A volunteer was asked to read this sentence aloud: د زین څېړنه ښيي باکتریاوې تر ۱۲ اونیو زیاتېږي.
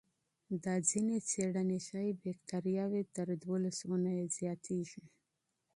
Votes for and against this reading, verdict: 0, 2, rejected